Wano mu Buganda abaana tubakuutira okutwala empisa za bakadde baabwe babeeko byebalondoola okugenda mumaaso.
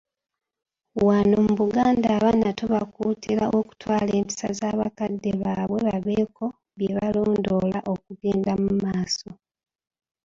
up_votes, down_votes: 1, 2